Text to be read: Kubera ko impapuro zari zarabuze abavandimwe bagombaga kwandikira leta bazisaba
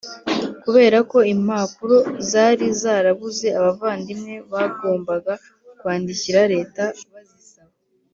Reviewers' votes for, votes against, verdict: 2, 0, accepted